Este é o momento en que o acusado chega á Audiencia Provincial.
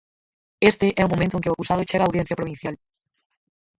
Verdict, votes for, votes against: rejected, 0, 4